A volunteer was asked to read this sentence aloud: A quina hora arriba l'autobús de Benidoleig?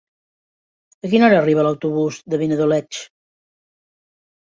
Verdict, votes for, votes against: rejected, 1, 2